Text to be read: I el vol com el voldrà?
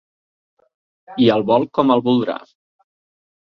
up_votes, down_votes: 3, 0